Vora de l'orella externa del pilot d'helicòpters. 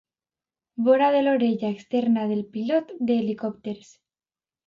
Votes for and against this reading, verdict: 2, 0, accepted